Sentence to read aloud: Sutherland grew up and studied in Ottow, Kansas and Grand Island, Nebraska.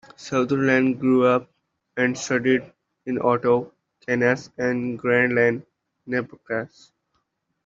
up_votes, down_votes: 0, 2